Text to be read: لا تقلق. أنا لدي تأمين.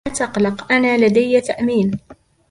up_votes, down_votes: 1, 2